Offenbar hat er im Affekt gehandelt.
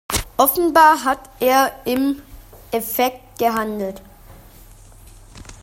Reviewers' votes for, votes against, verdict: 0, 2, rejected